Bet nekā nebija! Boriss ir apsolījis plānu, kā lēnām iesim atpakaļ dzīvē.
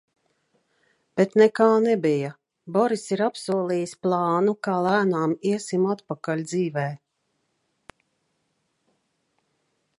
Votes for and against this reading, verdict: 2, 0, accepted